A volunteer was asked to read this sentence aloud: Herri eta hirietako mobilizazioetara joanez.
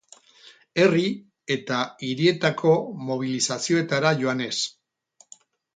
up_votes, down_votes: 4, 0